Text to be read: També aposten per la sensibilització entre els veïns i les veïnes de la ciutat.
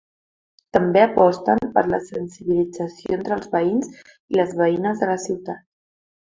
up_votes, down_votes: 4, 1